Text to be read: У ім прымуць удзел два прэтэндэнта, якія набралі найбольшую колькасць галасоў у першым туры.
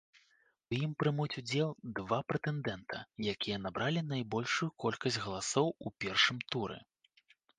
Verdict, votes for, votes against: accepted, 2, 0